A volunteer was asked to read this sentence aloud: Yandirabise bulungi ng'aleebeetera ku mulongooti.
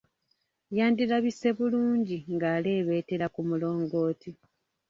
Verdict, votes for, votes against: rejected, 1, 2